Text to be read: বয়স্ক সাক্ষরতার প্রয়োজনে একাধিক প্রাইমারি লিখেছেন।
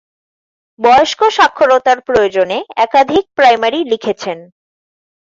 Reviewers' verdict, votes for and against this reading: accepted, 2, 0